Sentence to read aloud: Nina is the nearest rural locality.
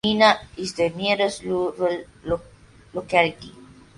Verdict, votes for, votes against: rejected, 0, 2